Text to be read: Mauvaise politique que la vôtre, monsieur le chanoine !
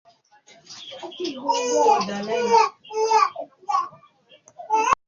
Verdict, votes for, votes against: rejected, 0, 2